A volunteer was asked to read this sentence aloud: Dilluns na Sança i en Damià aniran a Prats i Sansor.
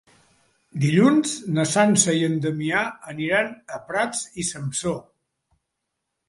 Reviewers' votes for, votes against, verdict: 2, 0, accepted